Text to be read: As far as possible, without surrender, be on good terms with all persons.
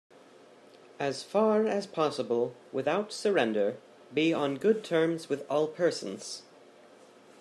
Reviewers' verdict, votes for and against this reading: accepted, 2, 1